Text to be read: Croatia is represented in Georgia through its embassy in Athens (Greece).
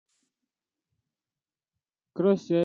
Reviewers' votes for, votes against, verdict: 0, 2, rejected